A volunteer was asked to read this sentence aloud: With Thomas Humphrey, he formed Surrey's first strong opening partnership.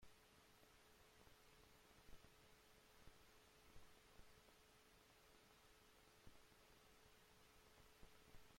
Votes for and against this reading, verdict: 0, 2, rejected